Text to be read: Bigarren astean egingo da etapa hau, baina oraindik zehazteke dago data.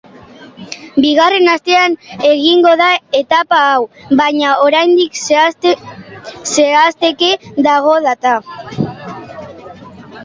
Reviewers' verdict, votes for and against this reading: rejected, 0, 2